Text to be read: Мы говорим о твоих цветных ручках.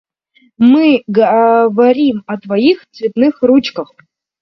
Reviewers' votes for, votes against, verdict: 0, 2, rejected